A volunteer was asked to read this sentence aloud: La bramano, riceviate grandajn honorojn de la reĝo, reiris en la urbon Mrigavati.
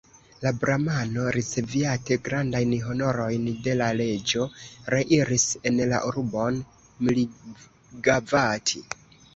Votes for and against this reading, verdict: 0, 2, rejected